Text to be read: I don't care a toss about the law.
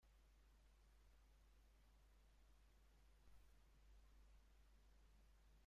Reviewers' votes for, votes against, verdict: 0, 2, rejected